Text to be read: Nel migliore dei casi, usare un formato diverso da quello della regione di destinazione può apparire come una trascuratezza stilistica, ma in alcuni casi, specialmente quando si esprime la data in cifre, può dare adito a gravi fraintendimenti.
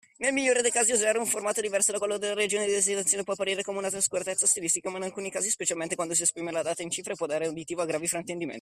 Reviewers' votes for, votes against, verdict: 0, 2, rejected